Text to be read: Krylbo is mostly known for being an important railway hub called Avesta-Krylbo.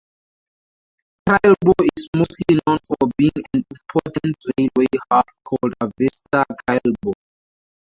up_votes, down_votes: 0, 2